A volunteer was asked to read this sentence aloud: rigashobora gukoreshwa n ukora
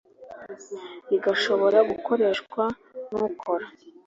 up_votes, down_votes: 2, 0